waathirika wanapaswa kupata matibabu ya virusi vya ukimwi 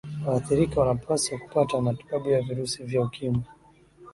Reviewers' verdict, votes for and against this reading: accepted, 13, 0